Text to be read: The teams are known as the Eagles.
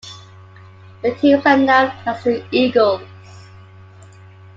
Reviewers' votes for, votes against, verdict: 2, 1, accepted